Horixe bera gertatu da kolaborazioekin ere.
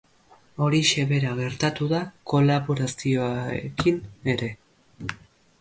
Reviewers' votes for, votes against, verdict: 3, 0, accepted